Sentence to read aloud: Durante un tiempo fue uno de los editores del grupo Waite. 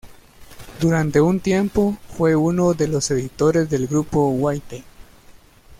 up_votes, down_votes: 2, 1